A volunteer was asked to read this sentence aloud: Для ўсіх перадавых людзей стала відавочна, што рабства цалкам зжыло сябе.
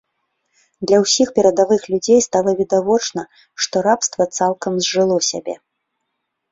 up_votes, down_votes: 2, 0